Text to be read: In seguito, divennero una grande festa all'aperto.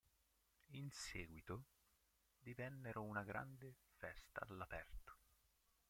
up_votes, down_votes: 1, 2